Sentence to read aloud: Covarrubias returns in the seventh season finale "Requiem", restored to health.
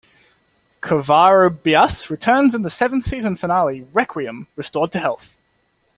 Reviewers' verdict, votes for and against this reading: accepted, 2, 0